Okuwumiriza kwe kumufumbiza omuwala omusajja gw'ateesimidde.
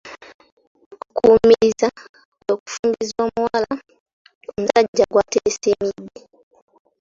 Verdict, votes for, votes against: rejected, 0, 2